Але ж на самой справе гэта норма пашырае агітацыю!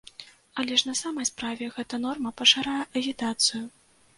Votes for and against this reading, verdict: 1, 2, rejected